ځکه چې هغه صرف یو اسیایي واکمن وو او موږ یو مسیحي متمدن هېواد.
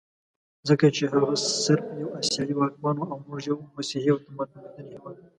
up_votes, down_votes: 1, 2